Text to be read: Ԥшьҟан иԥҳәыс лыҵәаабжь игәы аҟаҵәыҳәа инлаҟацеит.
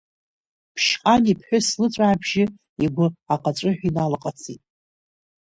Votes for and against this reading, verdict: 1, 2, rejected